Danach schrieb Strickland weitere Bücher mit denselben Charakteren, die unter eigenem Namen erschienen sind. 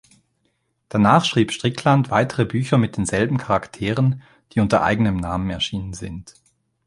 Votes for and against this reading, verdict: 2, 0, accepted